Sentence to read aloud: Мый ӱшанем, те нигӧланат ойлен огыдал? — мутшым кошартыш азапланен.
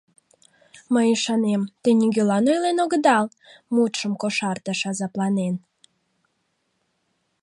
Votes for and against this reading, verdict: 1, 2, rejected